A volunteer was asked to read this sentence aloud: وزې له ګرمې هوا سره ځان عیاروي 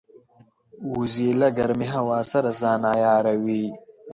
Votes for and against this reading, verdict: 2, 0, accepted